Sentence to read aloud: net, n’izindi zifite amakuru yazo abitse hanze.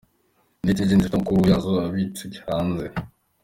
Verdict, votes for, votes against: rejected, 0, 2